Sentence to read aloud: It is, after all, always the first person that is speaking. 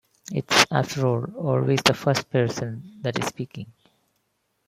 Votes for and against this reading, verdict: 1, 2, rejected